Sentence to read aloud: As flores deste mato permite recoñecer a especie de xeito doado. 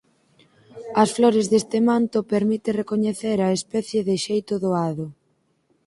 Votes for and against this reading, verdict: 0, 4, rejected